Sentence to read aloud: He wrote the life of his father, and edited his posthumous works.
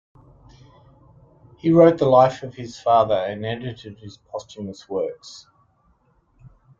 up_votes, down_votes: 2, 0